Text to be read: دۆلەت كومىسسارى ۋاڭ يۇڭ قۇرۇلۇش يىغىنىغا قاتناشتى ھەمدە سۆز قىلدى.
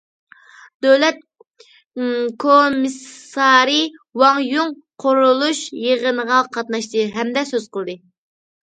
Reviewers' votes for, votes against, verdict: 0, 2, rejected